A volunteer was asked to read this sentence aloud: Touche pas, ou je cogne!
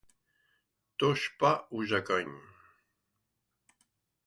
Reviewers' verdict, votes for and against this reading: accepted, 2, 0